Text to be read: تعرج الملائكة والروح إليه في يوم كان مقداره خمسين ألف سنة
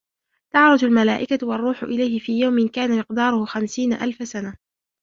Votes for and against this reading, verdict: 3, 0, accepted